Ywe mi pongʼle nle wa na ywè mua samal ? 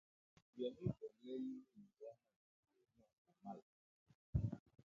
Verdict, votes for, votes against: rejected, 1, 2